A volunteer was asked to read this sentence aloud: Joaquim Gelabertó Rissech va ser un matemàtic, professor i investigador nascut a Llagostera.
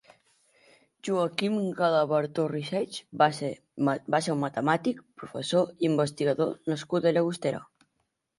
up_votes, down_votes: 0, 9